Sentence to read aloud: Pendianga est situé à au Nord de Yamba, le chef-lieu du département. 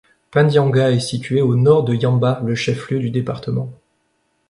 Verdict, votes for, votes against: rejected, 1, 2